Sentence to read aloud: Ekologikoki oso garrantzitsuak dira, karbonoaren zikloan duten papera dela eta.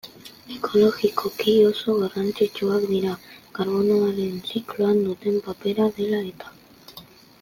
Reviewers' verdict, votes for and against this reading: accepted, 2, 1